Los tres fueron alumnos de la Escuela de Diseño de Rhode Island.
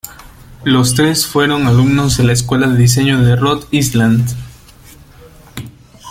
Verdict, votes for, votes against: rejected, 1, 2